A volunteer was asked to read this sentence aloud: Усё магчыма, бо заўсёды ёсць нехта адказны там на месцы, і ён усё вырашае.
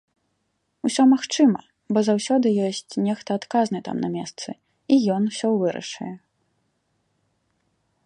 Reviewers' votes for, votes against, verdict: 1, 2, rejected